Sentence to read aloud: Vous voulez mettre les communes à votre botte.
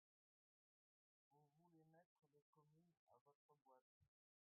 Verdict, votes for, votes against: rejected, 0, 2